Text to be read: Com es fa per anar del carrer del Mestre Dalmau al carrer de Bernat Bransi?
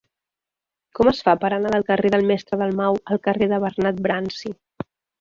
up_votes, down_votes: 3, 1